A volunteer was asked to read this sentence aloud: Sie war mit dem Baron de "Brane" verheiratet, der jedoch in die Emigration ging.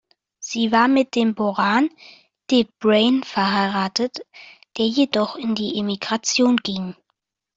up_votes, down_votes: 0, 3